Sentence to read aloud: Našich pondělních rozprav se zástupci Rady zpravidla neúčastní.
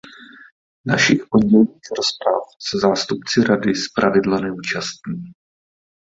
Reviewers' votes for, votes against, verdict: 0, 2, rejected